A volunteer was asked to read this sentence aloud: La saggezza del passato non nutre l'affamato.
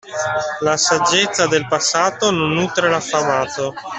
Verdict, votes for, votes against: accepted, 2, 0